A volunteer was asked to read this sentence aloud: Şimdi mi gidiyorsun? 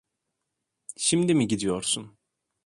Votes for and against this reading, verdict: 2, 0, accepted